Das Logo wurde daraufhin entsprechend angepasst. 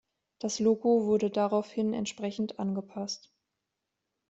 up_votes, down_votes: 2, 0